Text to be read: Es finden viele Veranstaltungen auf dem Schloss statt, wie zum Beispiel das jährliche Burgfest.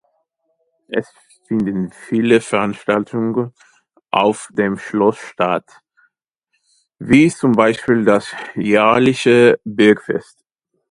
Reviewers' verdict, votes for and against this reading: rejected, 0, 2